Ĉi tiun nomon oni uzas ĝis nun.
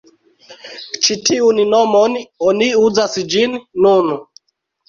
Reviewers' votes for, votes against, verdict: 0, 2, rejected